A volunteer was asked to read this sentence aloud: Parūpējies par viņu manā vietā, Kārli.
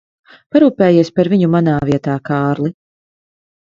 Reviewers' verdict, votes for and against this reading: accepted, 2, 0